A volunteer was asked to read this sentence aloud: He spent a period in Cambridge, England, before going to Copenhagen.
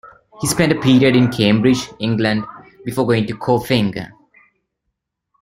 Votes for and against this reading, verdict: 0, 2, rejected